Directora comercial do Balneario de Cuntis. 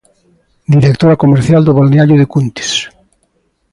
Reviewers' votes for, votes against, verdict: 2, 0, accepted